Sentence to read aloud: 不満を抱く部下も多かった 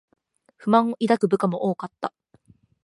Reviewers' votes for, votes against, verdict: 2, 0, accepted